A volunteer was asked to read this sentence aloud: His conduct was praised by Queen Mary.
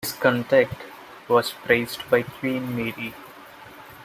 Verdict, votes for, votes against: rejected, 1, 2